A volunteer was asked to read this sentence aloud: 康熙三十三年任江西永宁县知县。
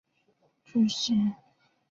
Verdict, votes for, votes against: rejected, 0, 2